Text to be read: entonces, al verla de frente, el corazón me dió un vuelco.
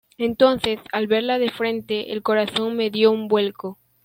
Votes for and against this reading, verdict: 2, 0, accepted